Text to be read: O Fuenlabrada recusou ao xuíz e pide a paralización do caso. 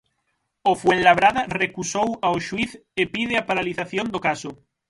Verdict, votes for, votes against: rejected, 3, 6